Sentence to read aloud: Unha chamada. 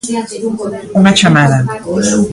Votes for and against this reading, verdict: 0, 2, rejected